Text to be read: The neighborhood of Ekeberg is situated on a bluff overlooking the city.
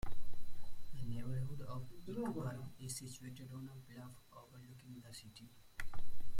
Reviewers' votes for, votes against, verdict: 1, 8, rejected